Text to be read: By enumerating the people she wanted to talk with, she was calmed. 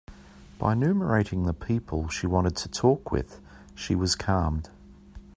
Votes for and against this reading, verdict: 3, 0, accepted